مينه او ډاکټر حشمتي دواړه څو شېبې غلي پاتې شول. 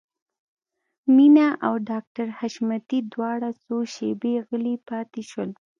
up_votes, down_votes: 3, 0